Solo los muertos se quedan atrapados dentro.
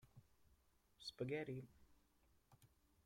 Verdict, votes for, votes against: rejected, 0, 2